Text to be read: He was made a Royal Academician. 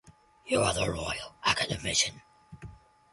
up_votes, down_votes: 0, 2